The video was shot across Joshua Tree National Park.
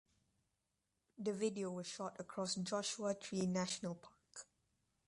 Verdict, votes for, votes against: rejected, 1, 2